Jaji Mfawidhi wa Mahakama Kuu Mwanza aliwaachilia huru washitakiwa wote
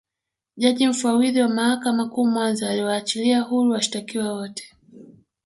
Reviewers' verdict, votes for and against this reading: accepted, 2, 1